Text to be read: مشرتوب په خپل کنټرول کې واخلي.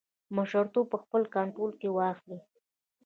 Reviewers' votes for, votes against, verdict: 1, 2, rejected